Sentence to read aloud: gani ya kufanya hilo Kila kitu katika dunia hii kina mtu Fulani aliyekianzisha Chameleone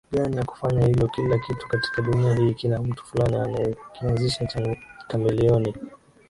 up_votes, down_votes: 2, 1